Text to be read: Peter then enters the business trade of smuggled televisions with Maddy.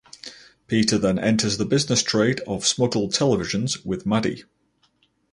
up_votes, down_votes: 0, 2